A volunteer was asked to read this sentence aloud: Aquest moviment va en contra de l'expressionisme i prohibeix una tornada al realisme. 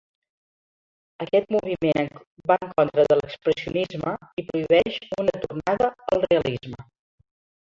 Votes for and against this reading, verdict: 0, 2, rejected